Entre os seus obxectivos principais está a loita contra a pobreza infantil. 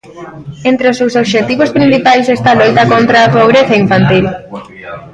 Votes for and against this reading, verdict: 0, 2, rejected